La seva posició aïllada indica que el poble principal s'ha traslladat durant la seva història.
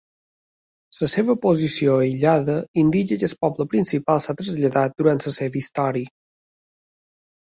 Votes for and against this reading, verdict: 0, 2, rejected